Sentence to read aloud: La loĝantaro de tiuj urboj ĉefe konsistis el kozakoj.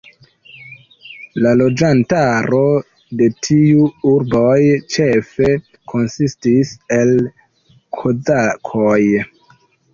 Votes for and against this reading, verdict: 1, 2, rejected